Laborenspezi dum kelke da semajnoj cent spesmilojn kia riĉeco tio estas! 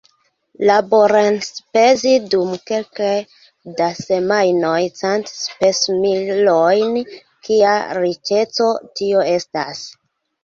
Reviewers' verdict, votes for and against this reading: accepted, 2, 0